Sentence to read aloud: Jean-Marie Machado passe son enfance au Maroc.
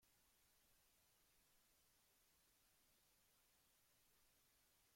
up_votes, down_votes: 0, 2